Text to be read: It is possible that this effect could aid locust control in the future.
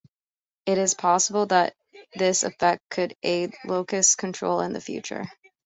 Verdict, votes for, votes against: accepted, 2, 0